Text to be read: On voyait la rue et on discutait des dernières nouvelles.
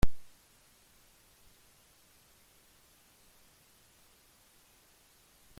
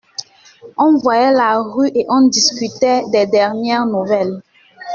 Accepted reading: second